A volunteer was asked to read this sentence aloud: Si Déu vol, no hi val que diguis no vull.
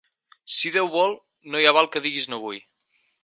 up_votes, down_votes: 2, 4